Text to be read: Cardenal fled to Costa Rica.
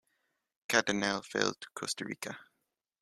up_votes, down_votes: 0, 2